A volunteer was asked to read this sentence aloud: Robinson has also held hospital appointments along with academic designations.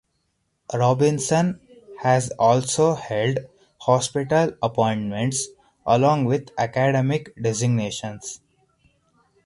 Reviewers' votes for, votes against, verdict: 4, 2, accepted